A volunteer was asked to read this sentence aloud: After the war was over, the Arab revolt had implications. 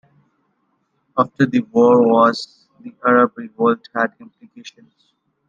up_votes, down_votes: 1, 2